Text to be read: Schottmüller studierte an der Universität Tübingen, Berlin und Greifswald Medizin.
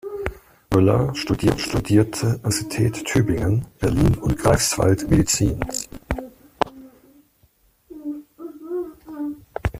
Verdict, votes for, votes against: rejected, 0, 2